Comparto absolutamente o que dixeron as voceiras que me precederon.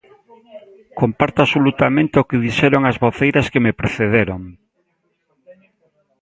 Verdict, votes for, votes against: rejected, 0, 2